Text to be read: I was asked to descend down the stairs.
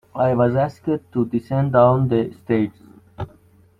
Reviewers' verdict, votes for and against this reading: rejected, 0, 2